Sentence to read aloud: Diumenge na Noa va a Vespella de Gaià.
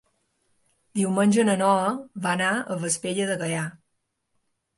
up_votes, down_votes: 0, 2